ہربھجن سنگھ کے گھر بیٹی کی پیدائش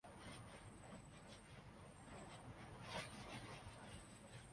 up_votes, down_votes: 1, 3